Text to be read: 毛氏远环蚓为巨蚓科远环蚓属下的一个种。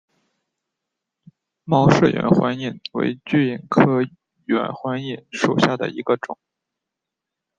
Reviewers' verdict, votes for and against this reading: accepted, 2, 0